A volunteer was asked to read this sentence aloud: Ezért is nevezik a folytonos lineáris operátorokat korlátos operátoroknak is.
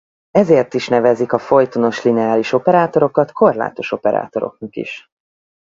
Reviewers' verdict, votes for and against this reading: rejected, 2, 4